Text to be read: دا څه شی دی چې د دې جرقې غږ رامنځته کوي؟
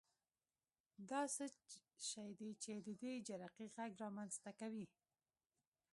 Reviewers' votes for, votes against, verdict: 1, 2, rejected